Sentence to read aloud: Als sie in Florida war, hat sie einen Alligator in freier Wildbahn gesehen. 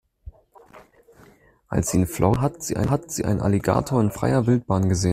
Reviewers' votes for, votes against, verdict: 0, 2, rejected